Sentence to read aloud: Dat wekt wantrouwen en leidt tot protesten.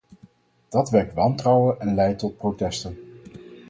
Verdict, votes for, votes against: accepted, 4, 0